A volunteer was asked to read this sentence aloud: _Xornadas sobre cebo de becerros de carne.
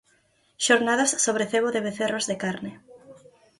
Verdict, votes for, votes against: rejected, 2, 4